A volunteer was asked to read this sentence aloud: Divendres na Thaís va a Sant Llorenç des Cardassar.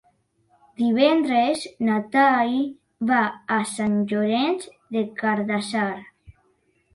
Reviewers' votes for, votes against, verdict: 0, 2, rejected